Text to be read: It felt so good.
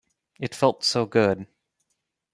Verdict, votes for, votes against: accepted, 3, 0